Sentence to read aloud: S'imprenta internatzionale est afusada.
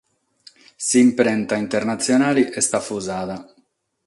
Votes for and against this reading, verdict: 6, 0, accepted